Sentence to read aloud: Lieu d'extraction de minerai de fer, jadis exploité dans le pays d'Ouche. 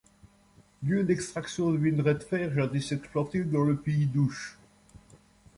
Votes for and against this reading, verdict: 2, 0, accepted